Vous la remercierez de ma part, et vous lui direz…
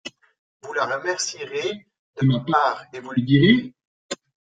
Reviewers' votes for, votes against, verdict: 1, 2, rejected